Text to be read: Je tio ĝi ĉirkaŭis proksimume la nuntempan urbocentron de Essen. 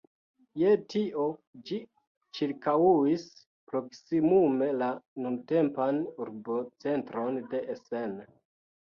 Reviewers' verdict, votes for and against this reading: rejected, 1, 2